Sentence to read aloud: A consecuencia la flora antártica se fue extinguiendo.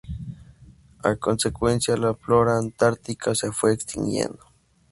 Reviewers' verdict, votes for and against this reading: accepted, 4, 0